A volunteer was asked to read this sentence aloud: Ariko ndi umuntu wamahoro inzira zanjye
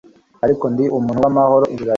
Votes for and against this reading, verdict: 1, 2, rejected